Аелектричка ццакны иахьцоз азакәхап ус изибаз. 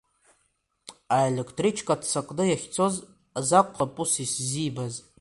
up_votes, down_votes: 2, 1